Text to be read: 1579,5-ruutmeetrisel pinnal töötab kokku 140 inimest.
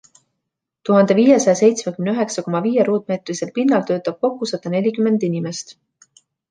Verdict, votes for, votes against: rejected, 0, 2